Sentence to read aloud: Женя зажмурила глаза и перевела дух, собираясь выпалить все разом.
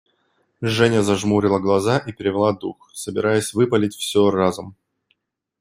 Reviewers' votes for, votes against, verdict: 2, 0, accepted